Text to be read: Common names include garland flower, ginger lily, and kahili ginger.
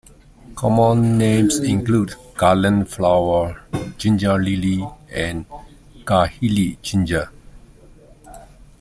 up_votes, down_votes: 0, 2